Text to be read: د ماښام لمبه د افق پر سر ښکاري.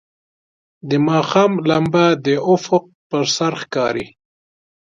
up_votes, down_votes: 2, 0